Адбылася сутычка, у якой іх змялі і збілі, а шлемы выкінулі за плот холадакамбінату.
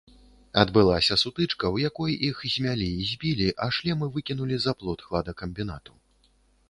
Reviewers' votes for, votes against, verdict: 1, 2, rejected